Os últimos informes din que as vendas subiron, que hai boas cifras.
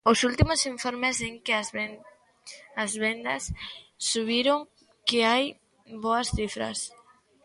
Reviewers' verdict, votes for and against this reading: rejected, 0, 2